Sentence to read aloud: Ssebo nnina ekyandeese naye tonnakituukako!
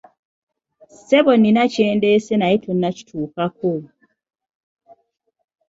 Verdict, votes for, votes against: rejected, 1, 2